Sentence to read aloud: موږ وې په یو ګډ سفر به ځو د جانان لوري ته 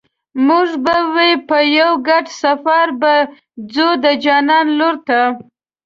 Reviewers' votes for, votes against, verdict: 1, 2, rejected